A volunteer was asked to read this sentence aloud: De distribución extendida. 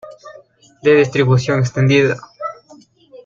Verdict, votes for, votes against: accepted, 2, 0